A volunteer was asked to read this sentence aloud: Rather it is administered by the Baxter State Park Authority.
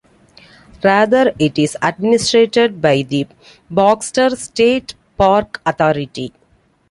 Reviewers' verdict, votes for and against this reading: accepted, 2, 0